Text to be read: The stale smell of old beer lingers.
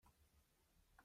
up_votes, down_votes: 0, 2